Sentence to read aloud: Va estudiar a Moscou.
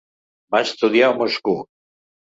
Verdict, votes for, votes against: rejected, 1, 2